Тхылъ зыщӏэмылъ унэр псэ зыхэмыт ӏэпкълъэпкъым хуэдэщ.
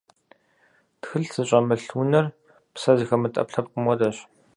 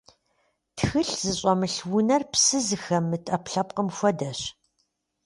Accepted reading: first